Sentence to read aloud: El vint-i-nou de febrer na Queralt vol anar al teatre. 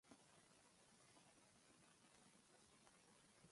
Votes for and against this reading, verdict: 0, 2, rejected